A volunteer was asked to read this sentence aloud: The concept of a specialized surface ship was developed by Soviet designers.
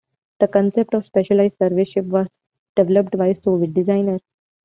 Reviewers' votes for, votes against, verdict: 2, 0, accepted